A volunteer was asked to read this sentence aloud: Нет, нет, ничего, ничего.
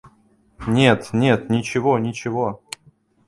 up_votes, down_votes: 2, 0